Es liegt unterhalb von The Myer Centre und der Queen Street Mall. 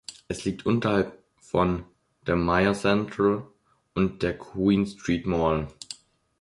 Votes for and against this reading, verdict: 1, 2, rejected